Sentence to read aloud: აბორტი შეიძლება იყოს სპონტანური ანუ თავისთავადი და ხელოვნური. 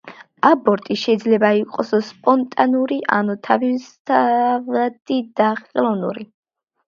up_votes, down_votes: 0, 2